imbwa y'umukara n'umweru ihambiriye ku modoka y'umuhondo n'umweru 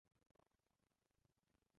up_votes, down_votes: 0, 2